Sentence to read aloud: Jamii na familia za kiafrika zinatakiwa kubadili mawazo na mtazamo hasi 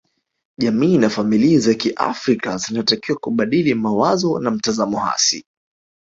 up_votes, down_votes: 3, 0